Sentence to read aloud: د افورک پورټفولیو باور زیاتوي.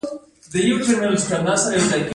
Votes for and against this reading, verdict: 0, 2, rejected